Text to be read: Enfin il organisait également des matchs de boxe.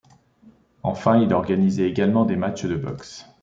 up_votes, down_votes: 2, 0